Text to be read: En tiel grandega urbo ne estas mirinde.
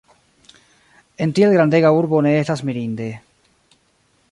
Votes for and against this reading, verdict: 2, 1, accepted